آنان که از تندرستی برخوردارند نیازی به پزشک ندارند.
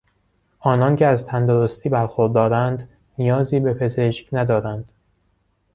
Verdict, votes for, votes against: accepted, 2, 0